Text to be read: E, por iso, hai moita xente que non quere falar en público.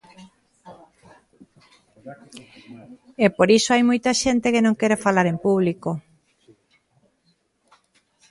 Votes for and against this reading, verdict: 1, 2, rejected